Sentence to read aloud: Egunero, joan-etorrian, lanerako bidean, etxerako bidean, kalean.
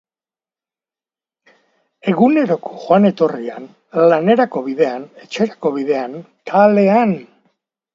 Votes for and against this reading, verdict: 2, 1, accepted